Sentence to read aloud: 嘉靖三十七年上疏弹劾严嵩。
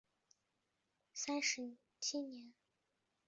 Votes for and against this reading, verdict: 1, 2, rejected